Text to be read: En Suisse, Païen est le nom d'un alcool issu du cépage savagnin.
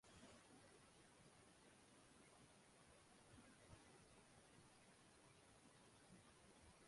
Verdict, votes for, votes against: rejected, 0, 2